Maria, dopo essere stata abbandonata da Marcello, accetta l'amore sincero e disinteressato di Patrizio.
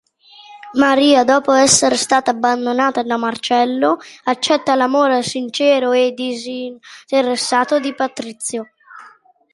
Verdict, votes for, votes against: accepted, 2, 1